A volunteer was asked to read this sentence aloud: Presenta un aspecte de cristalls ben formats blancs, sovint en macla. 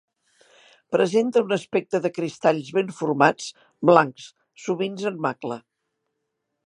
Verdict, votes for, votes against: rejected, 1, 2